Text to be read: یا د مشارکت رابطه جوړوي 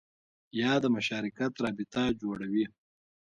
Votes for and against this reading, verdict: 1, 2, rejected